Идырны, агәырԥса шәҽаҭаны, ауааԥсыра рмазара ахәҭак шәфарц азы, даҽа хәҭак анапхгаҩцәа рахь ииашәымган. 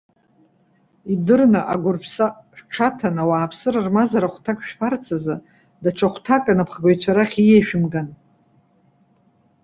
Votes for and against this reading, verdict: 2, 1, accepted